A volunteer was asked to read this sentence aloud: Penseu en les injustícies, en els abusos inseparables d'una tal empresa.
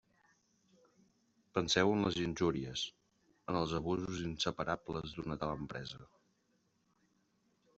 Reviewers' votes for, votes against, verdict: 0, 2, rejected